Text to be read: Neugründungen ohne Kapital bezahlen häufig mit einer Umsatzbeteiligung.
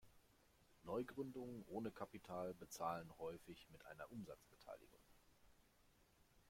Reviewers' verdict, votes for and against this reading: rejected, 0, 2